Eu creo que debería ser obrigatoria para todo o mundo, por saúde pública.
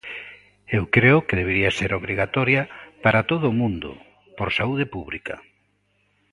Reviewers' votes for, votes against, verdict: 2, 0, accepted